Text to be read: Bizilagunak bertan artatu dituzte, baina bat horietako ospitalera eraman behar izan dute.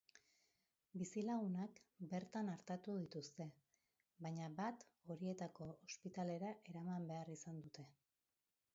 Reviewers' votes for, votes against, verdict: 1, 2, rejected